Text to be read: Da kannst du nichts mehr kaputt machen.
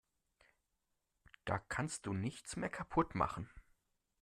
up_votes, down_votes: 2, 0